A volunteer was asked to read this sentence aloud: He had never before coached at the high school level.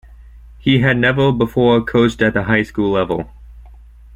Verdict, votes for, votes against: accepted, 2, 0